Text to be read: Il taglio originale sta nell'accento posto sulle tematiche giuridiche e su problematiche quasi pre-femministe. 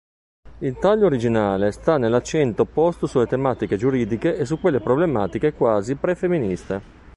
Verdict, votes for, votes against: rejected, 1, 2